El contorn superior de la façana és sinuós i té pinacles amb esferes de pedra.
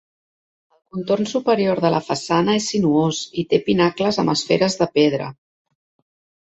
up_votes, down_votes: 2, 0